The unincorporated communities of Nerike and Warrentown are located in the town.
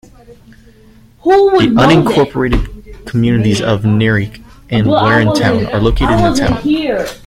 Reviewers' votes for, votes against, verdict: 0, 2, rejected